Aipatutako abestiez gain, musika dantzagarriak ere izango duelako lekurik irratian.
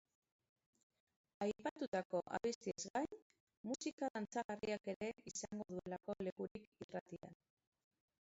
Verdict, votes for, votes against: rejected, 0, 2